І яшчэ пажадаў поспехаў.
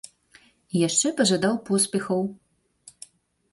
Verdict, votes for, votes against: accepted, 3, 0